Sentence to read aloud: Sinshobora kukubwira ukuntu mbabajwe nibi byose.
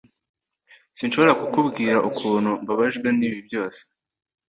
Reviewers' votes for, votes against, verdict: 2, 0, accepted